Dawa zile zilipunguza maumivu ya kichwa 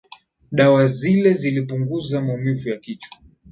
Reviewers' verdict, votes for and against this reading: accepted, 2, 0